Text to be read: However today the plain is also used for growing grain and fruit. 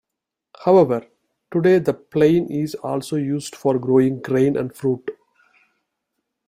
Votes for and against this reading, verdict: 2, 0, accepted